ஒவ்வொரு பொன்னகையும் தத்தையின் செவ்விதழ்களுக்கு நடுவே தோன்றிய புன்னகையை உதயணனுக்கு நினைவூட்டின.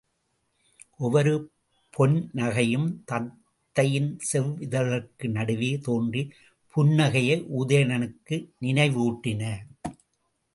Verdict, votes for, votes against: rejected, 0, 2